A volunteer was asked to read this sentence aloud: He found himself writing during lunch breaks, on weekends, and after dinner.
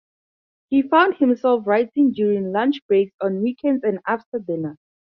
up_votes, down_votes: 4, 2